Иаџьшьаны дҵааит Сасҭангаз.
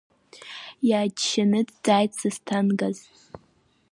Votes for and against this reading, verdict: 8, 4, accepted